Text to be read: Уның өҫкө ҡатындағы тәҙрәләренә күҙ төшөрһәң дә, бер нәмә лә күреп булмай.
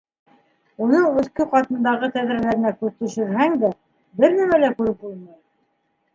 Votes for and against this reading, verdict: 1, 2, rejected